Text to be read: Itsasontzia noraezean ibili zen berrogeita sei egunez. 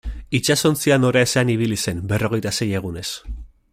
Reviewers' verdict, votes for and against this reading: accepted, 2, 0